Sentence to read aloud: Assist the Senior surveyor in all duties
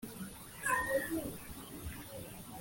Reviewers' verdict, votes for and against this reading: rejected, 0, 2